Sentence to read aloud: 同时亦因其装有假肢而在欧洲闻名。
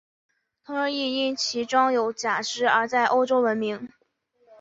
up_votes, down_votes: 3, 0